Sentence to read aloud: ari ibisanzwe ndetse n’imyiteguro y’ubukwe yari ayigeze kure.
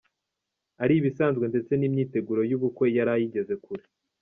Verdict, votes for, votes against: accepted, 2, 0